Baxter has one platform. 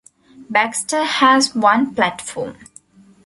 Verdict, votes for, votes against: accepted, 2, 1